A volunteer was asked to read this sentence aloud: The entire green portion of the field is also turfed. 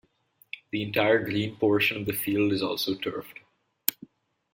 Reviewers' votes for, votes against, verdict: 2, 0, accepted